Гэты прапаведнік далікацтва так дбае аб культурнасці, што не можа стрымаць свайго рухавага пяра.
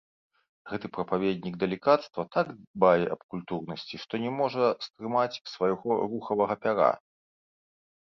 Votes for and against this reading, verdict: 1, 3, rejected